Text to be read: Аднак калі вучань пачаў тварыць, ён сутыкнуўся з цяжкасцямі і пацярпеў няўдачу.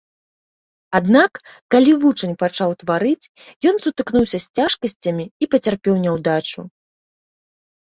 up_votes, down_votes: 2, 0